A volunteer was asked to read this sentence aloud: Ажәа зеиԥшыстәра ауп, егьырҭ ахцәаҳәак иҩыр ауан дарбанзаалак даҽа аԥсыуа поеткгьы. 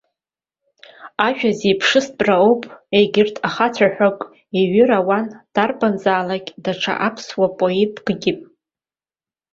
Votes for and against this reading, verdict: 2, 0, accepted